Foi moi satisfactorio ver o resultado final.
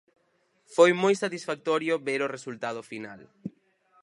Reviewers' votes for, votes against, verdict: 4, 0, accepted